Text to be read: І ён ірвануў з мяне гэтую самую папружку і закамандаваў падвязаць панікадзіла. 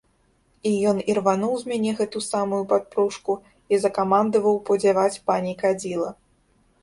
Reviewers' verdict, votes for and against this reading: rejected, 0, 3